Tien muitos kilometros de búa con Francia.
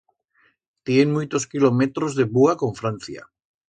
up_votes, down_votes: 2, 0